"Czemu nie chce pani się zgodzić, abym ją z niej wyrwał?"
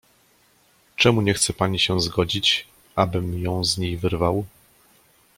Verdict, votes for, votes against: accepted, 2, 0